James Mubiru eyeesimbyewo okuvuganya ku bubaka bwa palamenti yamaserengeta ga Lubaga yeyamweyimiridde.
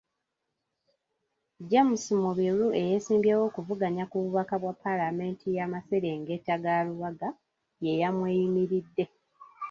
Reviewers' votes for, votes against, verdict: 2, 1, accepted